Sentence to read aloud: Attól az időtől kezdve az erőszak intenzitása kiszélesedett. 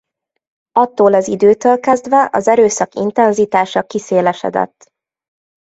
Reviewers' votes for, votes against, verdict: 2, 0, accepted